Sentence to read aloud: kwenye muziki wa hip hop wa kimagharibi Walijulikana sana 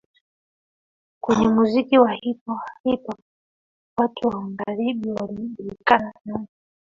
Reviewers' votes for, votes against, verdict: 0, 2, rejected